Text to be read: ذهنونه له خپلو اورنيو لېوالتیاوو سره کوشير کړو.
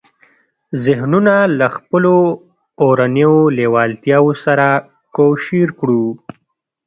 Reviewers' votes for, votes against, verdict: 1, 2, rejected